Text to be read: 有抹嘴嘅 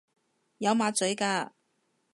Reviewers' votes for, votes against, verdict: 0, 2, rejected